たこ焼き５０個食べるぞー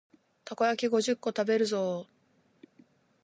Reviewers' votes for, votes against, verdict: 0, 2, rejected